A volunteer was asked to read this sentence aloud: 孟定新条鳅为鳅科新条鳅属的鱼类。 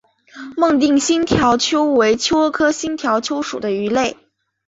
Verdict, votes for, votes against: accepted, 2, 0